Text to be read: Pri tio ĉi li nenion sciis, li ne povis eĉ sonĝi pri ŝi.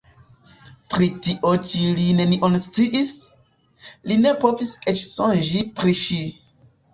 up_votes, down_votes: 1, 2